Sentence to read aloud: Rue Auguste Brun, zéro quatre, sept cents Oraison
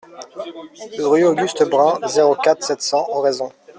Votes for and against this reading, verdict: 2, 1, accepted